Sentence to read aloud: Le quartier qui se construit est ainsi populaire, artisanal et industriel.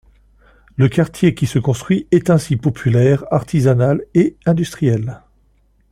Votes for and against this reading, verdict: 2, 0, accepted